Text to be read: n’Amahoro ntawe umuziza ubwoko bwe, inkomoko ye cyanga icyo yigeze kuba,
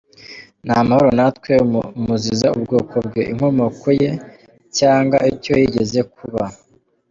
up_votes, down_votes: 1, 2